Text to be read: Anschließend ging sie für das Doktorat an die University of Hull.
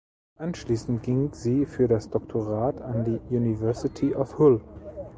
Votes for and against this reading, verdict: 1, 2, rejected